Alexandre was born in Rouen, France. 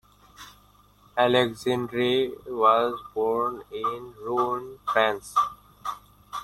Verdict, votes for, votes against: accepted, 2, 1